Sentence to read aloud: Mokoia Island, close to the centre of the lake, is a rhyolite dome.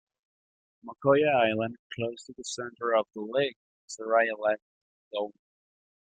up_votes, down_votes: 1, 2